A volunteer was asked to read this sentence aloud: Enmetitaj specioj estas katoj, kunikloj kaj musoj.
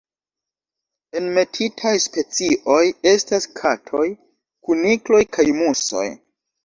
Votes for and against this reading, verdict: 2, 0, accepted